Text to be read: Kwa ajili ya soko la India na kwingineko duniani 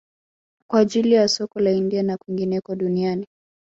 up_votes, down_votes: 2, 1